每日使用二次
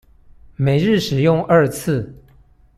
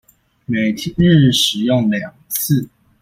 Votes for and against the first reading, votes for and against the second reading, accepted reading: 2, 0, 0, 2, first